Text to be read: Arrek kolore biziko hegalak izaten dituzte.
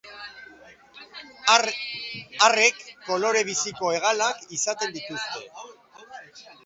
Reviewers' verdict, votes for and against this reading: rejected, 0, 2